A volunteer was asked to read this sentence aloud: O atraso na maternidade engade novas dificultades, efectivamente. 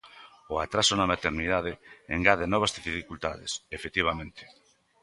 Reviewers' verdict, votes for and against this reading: accepted, 2, 0